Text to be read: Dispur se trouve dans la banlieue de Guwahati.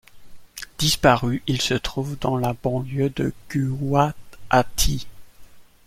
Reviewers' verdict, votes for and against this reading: rejected, 0, 2